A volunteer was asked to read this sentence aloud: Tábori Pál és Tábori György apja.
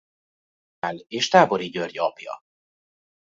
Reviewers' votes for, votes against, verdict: 0, 3, rejected